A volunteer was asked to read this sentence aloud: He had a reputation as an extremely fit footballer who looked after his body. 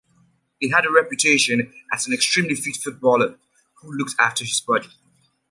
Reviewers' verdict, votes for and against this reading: accepted, 2, 0